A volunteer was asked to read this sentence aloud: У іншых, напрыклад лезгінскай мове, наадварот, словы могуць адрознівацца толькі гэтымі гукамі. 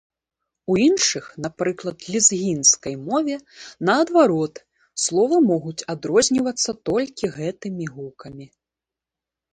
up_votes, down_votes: 2, 0